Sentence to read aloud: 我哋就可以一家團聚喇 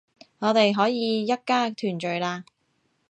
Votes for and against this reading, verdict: 1, 2, rejected